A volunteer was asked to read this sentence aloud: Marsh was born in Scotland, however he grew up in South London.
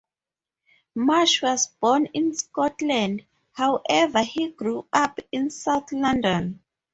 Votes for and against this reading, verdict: 2, 0, accepted